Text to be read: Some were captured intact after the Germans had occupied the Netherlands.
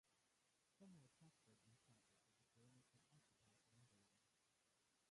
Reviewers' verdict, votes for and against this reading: rejected, 0, 2